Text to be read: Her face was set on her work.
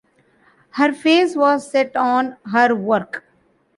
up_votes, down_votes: 2, 0